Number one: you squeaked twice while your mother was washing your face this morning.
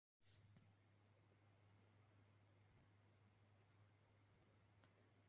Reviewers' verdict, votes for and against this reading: rejected, 1, 3